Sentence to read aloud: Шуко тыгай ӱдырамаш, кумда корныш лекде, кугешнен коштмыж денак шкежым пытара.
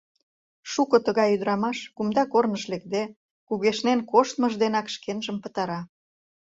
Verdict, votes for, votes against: rejected, 1, 2